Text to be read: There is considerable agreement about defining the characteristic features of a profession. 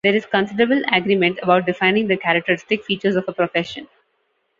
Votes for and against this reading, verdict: 2, 0, accepted